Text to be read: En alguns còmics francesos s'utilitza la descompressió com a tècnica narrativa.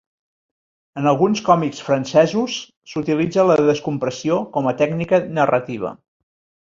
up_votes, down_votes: 3, 0